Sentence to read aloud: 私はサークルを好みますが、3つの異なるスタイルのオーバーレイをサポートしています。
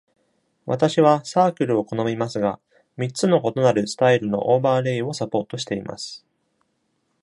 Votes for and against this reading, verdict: 0, 2, rejected